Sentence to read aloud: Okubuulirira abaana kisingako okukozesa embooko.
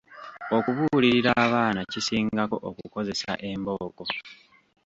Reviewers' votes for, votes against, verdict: 0, 2, rejected